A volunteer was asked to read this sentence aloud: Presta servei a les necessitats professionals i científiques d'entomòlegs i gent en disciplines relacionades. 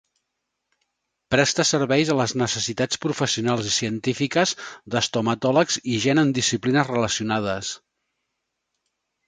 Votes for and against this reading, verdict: 0, 2, rejected